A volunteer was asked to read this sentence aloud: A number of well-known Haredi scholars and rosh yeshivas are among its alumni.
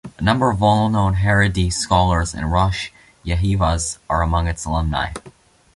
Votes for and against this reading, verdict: 0, 2, rejected